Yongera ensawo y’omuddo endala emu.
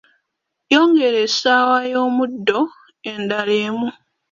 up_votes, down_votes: 1, 2